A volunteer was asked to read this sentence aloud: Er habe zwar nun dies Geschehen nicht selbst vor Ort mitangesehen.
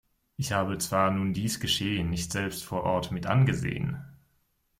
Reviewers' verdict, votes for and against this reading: rejected, 0, 2